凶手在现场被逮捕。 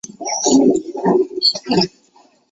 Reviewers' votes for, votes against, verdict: 0, 2, rejected